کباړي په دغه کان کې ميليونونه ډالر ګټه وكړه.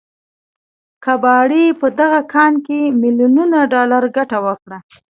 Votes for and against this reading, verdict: 2, 0, accepted